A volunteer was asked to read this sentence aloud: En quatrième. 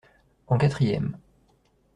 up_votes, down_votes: 2, 0